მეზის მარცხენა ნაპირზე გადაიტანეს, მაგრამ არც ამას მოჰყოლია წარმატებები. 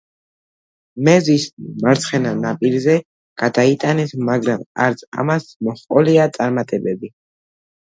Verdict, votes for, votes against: accepted, 2, 0